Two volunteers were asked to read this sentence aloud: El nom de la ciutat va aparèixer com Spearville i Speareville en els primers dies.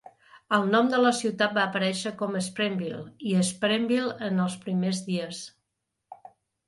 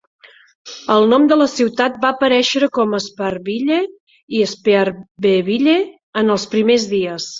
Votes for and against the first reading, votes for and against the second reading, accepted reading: 2, 0, 0, 3, first